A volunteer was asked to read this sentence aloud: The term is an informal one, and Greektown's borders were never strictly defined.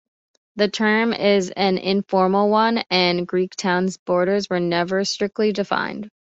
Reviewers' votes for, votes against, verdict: 2, 0, accepted